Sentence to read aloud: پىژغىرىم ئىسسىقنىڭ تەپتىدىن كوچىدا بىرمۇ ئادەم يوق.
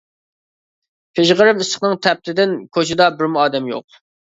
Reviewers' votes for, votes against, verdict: 2, 0, accepted